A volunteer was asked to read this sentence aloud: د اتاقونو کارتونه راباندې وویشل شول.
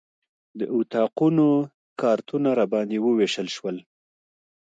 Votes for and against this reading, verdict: 2, 0, accepted